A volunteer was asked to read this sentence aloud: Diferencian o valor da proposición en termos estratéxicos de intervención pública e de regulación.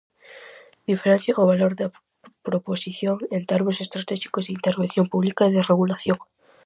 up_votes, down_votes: 2, 2